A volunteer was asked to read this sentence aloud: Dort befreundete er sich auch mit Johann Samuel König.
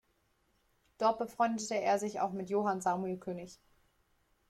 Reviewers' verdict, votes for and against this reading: accepted, 2, 0